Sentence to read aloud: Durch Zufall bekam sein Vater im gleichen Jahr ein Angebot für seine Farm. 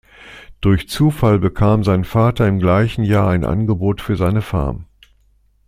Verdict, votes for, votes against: accepted, 2, 0